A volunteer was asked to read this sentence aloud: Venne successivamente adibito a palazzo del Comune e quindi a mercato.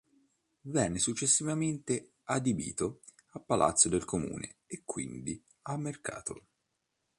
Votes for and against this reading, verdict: 3, 0, accepted